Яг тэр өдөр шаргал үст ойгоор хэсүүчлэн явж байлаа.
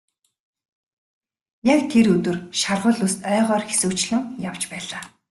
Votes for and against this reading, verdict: 2, 0, accepted